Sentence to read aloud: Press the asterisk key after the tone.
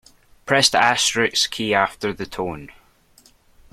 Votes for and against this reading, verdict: 2, 0, accepted